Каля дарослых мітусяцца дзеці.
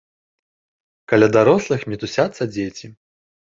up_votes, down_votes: 3, 0